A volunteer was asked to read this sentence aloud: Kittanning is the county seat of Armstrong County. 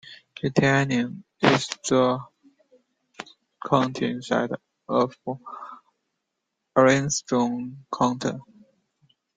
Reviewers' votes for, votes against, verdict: 0, 2, rejected